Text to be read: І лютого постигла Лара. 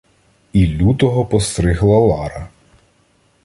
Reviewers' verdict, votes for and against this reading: rejected, 1, 2